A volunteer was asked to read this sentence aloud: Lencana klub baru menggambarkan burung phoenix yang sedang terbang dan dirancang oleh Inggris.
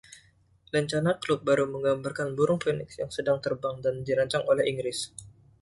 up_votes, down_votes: 2, 0